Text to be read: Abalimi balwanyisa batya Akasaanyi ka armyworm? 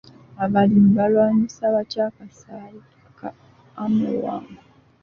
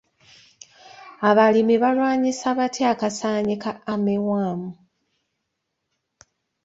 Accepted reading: second